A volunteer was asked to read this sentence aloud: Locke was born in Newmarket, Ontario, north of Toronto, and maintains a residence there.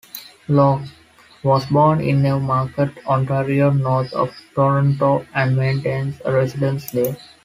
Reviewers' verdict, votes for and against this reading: accepted, 2, 0